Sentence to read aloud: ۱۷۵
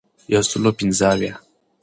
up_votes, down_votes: 0, 2